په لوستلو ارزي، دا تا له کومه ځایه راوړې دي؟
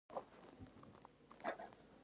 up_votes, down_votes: 1, 2